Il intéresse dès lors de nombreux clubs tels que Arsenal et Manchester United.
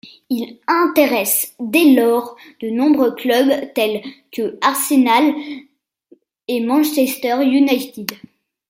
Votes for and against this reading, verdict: 1, 2, rejected